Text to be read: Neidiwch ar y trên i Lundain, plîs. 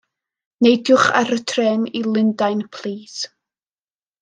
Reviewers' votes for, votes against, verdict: 2, 0, accepted